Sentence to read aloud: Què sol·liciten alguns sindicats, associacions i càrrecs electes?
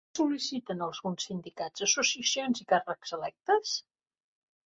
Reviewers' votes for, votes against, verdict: 0, 2, rejected